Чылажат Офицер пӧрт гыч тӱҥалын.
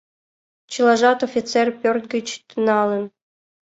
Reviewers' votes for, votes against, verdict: 2, 0, accepted